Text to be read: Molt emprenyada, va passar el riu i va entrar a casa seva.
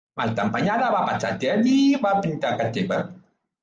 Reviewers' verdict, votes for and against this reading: rejected, 0, 2